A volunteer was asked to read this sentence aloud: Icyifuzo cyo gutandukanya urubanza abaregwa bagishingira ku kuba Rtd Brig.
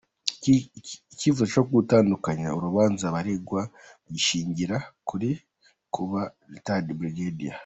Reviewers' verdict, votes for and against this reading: rejected, 1, 2